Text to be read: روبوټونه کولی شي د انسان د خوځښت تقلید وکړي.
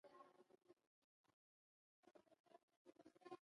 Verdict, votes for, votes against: rejected, 0, 2